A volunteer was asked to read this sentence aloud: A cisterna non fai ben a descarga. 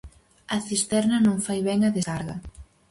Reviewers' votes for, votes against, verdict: 0, 4, rejected